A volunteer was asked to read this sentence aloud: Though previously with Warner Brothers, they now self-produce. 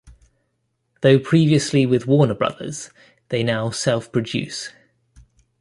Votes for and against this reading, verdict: 2, 0, accepted